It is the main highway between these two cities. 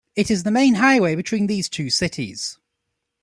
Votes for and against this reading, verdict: 1, 2, rejected